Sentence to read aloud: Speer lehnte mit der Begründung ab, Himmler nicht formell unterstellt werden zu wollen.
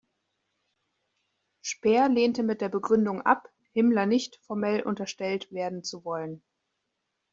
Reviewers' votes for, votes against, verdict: 2, 0, accepted